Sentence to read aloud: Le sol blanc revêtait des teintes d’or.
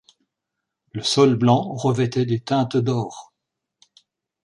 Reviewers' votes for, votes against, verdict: 2, 0, accepted